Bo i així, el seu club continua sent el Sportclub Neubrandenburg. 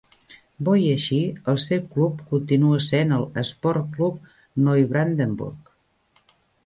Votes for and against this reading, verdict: 2, 1, accepted